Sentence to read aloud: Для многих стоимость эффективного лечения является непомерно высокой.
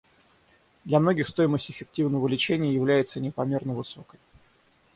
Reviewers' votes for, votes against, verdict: 3, 3, rejected